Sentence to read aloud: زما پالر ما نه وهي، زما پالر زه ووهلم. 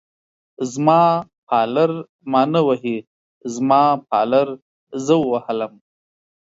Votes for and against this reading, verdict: 1, 2, rejected